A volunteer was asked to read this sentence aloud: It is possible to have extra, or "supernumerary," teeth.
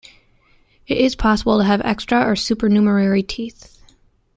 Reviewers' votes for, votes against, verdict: 2, 0, accepted